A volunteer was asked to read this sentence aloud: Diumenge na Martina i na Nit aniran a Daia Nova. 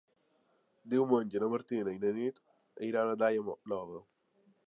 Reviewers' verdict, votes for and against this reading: accepted, 2, 1